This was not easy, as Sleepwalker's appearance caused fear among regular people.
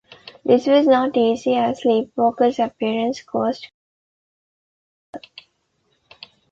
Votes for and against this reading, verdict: 0, 2, rejected